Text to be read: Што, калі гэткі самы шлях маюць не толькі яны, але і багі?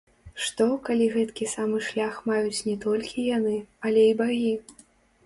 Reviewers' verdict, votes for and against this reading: rejected, 1, 2